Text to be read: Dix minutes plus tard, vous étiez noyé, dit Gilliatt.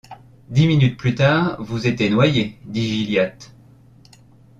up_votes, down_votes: 2, 1